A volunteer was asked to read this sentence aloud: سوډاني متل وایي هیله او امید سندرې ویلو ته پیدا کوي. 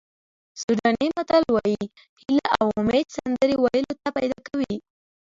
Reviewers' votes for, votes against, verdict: 2, 1, accepted